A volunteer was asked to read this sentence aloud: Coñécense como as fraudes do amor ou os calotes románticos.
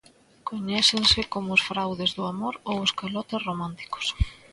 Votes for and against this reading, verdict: 1, 2, rejected